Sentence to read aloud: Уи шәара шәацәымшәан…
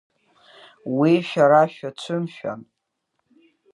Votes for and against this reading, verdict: 3, 0, accepted